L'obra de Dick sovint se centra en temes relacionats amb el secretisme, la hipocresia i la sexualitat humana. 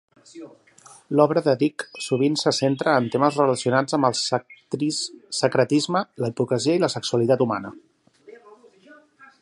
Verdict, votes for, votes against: rejected, 1, 2